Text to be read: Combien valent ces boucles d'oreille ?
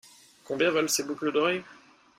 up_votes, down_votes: 2, 0